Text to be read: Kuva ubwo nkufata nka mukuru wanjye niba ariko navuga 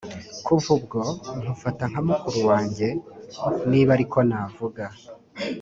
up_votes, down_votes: 2, 0